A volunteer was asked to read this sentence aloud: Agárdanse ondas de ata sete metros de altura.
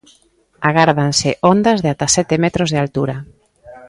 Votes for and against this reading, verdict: 2, 0, accepted